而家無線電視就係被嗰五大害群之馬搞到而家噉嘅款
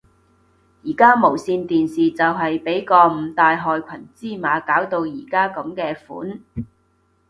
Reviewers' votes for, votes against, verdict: 1, 2, rejected